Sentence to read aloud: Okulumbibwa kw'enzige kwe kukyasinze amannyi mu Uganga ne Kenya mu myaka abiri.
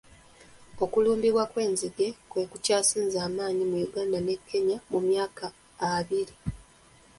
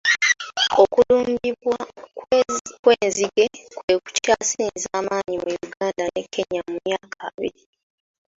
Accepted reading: first